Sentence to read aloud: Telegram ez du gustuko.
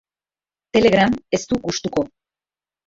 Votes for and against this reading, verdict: 0, 2, rejected